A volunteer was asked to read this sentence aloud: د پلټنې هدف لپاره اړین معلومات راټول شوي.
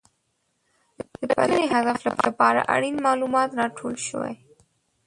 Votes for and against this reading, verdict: 1, 2, rejected